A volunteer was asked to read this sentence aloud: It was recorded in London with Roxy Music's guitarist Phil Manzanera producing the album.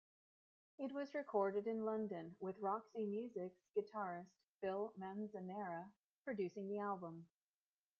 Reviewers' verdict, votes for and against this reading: rejected, 1, 2